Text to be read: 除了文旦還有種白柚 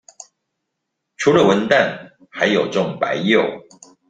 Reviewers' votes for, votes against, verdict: 2, 0, accepted